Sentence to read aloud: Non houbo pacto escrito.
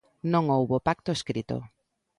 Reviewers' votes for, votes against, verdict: 2, 0, accepted